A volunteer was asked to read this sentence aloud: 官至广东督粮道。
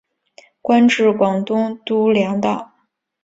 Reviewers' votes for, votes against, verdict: 2, 0, accepted